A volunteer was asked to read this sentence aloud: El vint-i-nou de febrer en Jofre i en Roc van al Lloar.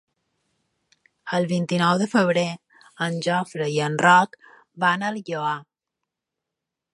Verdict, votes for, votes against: accepted, 2, 0